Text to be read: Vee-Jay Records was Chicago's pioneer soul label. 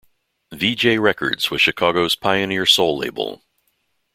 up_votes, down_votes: 2, 0